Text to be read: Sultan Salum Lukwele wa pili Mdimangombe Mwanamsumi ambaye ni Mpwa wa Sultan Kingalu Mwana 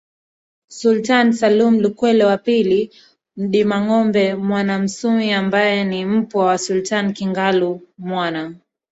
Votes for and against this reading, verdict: 0, 2, rejected